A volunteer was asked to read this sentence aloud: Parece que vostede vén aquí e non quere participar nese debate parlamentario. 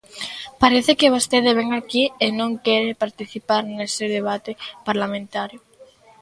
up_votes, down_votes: 2, 0